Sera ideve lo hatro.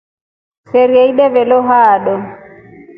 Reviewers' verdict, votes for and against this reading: rejected, 0, 2